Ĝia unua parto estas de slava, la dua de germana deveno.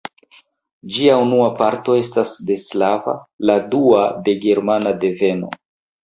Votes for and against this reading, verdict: 1, 2, rejected